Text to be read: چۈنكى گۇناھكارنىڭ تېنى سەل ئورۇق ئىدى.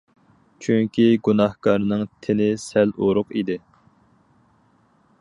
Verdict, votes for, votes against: accepted, 4, 0